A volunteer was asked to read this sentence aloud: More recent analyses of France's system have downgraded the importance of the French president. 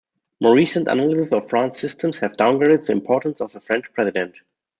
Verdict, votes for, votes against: rejected, 0, 2